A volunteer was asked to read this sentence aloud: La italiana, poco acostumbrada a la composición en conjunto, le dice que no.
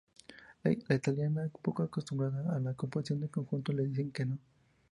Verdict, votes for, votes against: rejected, 0, 2